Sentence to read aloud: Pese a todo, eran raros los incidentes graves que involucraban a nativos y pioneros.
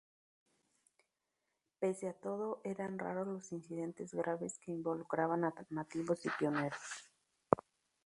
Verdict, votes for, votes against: rejected, 2, 2